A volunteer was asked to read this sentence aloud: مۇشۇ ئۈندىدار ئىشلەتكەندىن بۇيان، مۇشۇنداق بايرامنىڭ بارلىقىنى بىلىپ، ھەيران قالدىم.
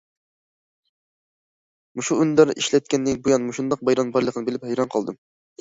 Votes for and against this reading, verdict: 2, 0, accepted